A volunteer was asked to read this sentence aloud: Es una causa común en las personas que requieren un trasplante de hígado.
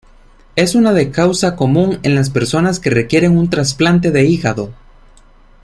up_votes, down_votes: 0, 2